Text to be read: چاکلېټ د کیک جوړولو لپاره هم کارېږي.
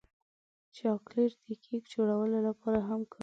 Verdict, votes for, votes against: rejected, 1, 2